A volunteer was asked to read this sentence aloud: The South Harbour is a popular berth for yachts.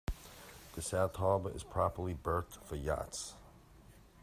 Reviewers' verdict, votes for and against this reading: rejected, 2, 3